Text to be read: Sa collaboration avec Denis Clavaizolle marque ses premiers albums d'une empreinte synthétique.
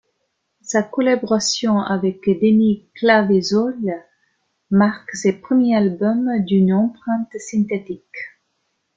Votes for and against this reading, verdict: 2, 1, accepted